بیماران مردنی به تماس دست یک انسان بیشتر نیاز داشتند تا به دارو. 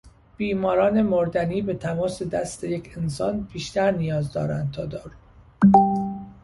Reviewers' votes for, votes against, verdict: 0, 2, rejected